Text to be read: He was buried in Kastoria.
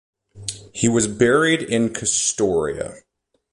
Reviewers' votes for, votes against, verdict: 2, 0, accepted